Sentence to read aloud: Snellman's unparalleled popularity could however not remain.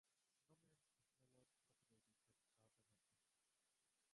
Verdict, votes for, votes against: rejected, 0, 2